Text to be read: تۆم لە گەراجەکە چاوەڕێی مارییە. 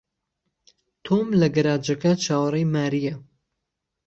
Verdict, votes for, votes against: accepted, 2, 0